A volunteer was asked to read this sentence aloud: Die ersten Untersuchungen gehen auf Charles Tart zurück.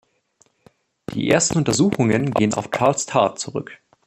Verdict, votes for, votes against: rejected, 0, 2